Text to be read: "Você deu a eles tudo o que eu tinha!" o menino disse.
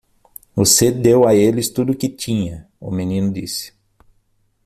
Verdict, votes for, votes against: rejected, 0, 6